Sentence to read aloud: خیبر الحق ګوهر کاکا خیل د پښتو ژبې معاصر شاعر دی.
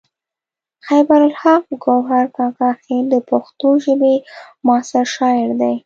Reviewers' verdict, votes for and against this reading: accepted, 2, 0